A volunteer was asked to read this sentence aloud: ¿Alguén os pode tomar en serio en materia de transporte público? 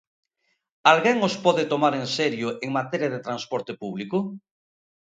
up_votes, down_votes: 2, 0